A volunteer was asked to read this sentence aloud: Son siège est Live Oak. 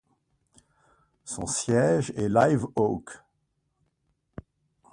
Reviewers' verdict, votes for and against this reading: rejected, 1, 2